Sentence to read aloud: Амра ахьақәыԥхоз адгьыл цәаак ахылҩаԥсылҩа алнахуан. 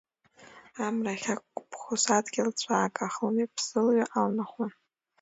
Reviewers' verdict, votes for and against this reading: rejected, 1, 2